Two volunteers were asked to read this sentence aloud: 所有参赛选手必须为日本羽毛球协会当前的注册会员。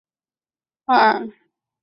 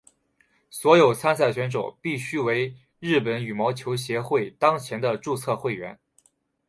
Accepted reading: second